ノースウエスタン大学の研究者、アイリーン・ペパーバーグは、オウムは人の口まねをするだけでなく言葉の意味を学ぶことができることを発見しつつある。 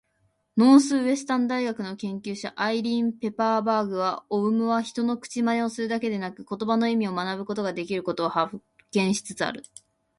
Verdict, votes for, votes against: accepted, 4, 1